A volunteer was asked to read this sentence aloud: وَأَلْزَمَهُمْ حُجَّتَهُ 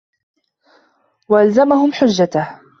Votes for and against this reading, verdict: 2, 0, accepted